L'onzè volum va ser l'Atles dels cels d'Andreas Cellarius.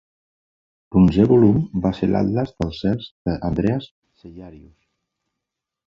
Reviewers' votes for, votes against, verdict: 1, 2, rejected